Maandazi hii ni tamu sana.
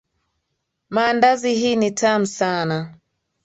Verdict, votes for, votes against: accepted, 5, 0